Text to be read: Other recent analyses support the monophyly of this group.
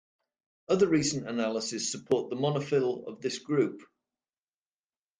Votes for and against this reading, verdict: 1, 2, rejected